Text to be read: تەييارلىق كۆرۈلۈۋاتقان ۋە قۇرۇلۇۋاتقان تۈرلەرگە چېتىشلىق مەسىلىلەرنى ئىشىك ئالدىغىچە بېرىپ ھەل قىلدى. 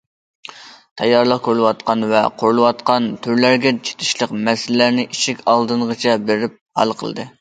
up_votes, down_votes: 0, 2